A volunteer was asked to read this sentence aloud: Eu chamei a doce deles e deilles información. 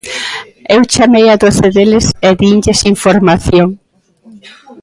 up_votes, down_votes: 0, 2